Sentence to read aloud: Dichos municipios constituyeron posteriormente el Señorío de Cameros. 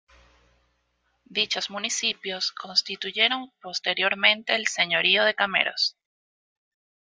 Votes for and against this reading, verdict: 2, 0, accepted